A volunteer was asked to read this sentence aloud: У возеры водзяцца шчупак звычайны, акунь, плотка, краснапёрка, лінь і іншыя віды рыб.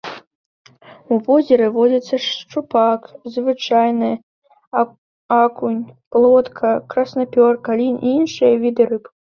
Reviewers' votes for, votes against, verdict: 0, 2, rejected